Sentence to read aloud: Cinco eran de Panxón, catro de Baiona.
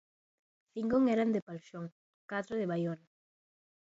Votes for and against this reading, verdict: 1, 2, rejected